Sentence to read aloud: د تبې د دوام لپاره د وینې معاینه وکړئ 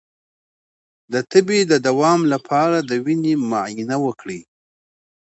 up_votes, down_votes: 2, 0